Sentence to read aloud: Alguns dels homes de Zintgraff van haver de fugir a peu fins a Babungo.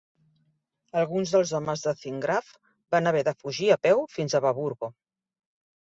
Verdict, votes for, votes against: rejected, 0, 2